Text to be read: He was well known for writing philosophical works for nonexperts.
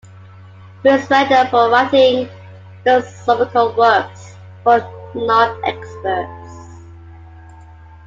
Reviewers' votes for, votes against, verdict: 1, 2, rejected